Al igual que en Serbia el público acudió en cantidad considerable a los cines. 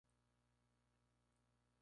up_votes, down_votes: 0, 2